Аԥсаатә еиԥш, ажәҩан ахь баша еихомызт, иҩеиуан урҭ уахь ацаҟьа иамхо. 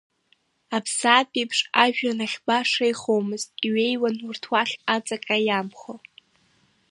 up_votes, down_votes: 3, 0